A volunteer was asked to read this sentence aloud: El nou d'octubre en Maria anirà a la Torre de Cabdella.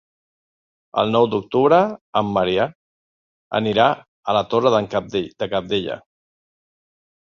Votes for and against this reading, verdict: 1, 3, rejected